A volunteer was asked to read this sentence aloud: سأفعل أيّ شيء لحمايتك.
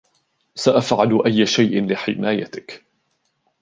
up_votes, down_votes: 2, 0